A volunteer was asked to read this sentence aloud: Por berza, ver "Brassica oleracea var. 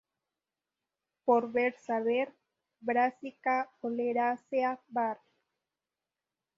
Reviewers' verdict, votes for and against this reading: accepted, 2, 0